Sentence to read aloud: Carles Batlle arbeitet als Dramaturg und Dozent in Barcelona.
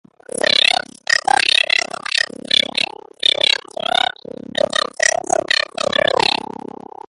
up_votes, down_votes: 0, 2